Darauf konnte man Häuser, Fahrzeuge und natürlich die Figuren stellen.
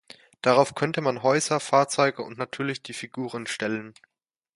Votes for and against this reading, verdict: 0, 2, rejected